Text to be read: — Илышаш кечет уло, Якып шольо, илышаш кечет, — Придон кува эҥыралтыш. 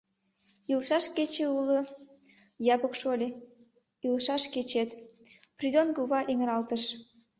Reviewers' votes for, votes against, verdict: 1, 2, rejected